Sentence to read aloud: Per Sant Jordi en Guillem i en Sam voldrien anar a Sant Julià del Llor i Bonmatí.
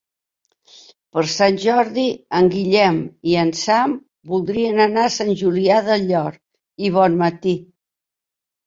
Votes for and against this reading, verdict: 3, 0, accepted